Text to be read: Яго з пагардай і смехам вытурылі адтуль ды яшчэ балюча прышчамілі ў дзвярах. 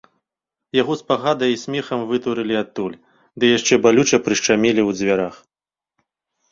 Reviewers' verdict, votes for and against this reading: rejected, 0, 3